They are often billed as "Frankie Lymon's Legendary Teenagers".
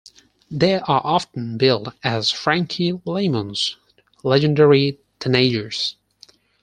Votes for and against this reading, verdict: 4, 2, accepted